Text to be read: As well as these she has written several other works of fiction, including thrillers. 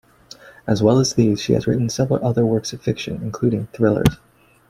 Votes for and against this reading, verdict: 2, 1, accepted